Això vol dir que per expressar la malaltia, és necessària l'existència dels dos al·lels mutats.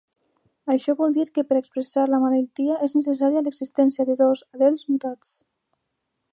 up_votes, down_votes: 1, 2